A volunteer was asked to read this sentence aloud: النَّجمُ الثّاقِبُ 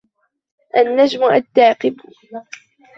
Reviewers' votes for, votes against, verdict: 0, 2, rejected